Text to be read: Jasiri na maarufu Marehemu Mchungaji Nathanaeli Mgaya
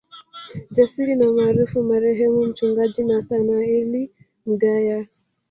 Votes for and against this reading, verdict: 1, 2, rejected